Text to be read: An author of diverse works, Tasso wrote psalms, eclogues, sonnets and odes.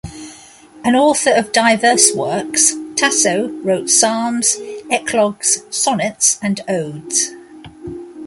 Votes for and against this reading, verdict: 2, 0, accepted